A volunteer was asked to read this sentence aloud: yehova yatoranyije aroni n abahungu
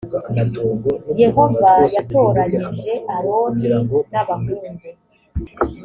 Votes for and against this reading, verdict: 2, 0, accepted